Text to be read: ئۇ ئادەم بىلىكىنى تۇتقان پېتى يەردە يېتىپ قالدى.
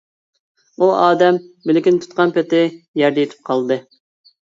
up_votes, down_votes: 2, 0